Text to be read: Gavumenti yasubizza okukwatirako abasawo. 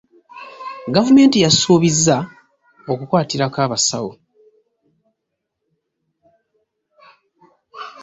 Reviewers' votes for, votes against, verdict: 2, 0, accepted